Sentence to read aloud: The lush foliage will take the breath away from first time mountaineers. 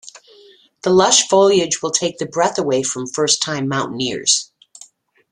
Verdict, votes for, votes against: accepted, 2, 0